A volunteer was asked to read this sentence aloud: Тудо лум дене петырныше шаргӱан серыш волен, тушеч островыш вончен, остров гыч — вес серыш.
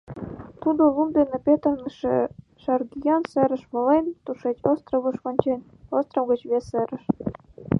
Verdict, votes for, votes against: rejected, 1, 2